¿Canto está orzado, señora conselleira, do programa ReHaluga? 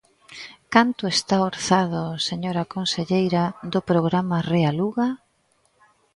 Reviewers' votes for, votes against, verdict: 2, 0, accepted